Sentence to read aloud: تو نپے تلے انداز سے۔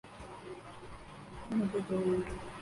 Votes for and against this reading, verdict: 0, 2, rejected